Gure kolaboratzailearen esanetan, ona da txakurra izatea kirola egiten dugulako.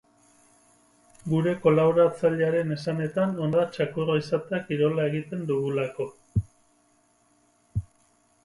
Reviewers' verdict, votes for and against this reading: accepted, 4, 0